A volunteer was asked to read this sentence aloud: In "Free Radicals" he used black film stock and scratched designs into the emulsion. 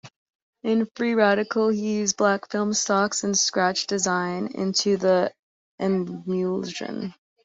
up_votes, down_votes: 0, 2